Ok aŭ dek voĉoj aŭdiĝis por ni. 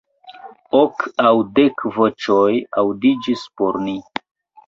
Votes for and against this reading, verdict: 0, 3, rejected